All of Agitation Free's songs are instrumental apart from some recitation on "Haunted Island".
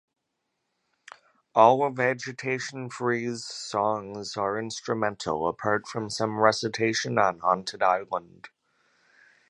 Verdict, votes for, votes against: accepted, 2, 0